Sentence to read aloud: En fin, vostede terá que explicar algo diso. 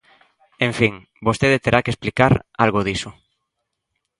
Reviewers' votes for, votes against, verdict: 2, 0, accepted